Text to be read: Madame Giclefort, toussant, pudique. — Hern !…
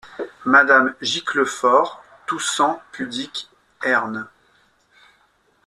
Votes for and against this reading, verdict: 2, 0, accepted